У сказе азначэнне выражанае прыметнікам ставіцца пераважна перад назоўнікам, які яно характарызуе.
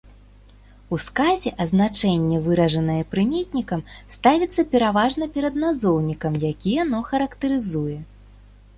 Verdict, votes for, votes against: accepted, 2, 0